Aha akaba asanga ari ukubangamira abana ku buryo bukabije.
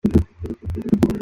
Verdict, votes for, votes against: rejected, 0, 2